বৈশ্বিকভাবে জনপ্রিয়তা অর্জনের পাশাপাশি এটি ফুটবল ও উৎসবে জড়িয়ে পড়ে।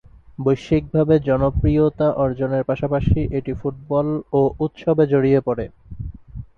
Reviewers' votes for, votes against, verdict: 4, 0, accepted